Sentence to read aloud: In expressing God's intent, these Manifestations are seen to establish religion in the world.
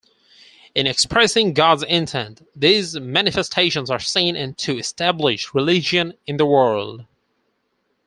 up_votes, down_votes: 0, 4